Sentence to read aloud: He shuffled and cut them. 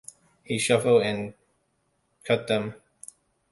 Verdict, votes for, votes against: rejected, 0, 2